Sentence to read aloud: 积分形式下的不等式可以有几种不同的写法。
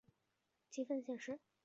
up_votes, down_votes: 0, 3